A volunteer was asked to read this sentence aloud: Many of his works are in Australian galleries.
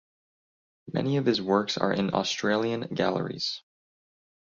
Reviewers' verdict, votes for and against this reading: accepted, 2, 0